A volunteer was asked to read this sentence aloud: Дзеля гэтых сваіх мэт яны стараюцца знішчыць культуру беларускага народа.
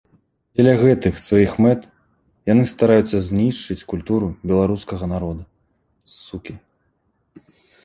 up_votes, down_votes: 1, 3